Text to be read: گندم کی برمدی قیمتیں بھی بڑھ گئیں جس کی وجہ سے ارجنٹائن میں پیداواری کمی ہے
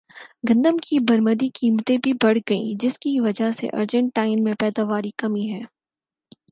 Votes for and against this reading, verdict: 6, 0, accepted